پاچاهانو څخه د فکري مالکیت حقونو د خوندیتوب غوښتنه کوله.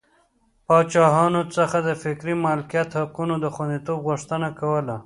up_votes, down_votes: 3, 0